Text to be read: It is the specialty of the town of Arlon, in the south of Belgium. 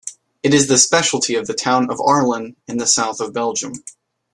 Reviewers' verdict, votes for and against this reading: accepted, 2, 0